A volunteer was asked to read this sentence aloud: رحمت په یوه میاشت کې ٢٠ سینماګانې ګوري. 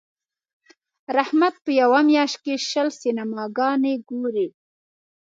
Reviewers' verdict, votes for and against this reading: rejected, 0, 2